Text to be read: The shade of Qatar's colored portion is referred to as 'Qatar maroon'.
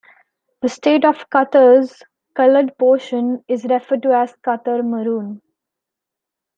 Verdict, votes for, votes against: rejected, 1, 2